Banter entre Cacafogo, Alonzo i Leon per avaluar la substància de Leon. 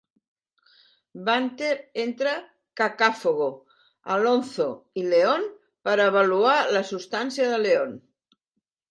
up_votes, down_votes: 2, 0